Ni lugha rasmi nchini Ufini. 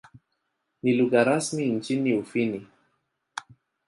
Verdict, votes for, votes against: accepted, 2, 0